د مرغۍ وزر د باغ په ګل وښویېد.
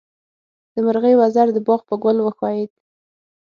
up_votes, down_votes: 6, 0